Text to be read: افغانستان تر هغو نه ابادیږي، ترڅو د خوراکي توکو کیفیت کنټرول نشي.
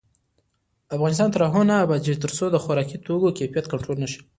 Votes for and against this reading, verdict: 2, 1, accepted